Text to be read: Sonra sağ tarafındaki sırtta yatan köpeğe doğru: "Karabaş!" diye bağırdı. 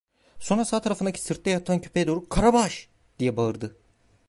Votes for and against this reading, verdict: 0, 2, rejected